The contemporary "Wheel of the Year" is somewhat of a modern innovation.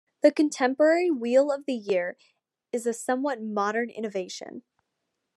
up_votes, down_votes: 0, 2